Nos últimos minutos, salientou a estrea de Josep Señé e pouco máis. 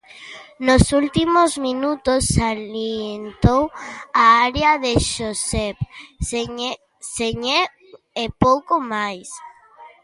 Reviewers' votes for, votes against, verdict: 0, 2, rejected